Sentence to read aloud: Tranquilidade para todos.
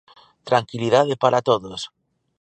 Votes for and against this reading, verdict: 2, 0, accepted